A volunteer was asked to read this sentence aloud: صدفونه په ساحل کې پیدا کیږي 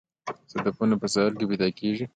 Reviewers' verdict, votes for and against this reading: accepted, 2, 0